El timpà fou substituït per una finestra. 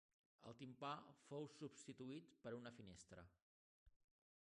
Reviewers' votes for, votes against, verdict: 1, 3, rejected